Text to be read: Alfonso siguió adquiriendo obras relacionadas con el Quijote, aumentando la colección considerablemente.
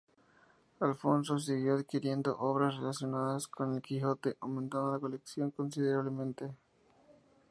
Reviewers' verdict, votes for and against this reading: rejected, 0, 2